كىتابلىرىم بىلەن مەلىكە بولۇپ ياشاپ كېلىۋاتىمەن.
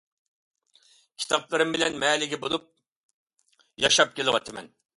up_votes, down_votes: 2, 0